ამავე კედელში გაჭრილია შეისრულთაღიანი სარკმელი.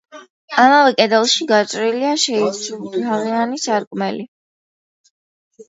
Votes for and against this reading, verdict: 1, 2, rejected